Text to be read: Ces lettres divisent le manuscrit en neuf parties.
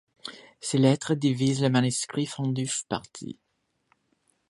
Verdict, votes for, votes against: rejected, 0, 2